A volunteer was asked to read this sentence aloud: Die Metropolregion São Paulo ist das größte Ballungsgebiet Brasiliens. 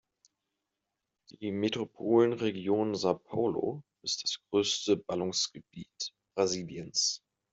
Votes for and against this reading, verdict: 1, 2, rejected